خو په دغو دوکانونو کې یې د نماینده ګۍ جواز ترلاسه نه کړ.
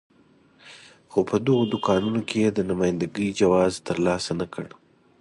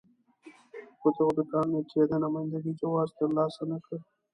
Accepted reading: first